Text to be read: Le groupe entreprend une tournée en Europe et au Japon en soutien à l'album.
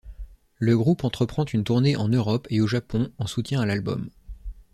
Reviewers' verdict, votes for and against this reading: accepted, 2, 0